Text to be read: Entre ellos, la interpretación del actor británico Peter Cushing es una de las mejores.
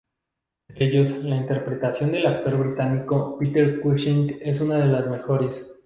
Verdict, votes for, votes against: rejected, 0, 2